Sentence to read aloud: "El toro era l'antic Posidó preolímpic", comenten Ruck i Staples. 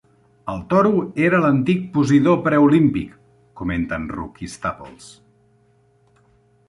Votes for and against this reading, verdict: 2, 0, accepted